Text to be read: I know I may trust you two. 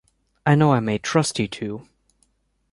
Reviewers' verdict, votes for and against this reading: accepted, 2, 0